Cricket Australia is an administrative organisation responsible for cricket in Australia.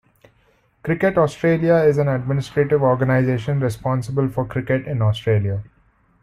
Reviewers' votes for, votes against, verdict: 2, 0, accepted